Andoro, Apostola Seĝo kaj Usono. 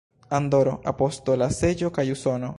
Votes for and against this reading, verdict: 1, 2, rejected